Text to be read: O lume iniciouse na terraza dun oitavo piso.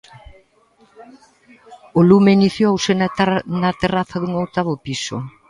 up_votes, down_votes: 0, 2